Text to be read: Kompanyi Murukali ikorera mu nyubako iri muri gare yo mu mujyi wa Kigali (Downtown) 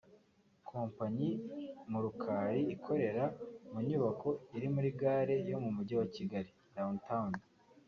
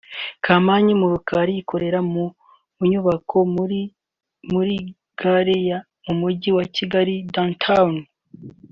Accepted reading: first